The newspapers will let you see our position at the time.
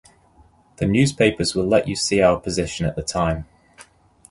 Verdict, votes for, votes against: accepted, 2, 0